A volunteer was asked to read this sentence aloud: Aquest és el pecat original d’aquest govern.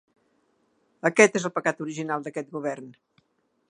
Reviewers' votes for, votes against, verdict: 2, 0, accepted